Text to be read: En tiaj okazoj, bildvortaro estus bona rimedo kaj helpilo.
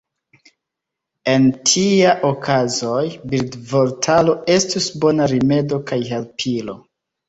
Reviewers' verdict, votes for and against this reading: accepted, 2, 1